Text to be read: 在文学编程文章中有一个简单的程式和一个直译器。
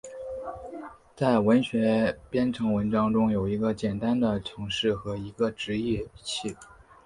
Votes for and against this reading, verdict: 1, 2, rejected